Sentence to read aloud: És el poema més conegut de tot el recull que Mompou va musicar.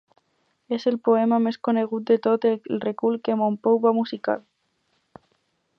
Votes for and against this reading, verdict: 4, 0, accepted